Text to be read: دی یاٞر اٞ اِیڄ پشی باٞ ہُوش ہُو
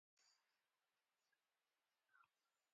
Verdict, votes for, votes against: rejected, 0, 2